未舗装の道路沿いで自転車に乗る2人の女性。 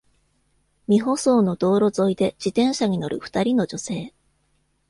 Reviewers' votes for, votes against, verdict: 0, 2, rejected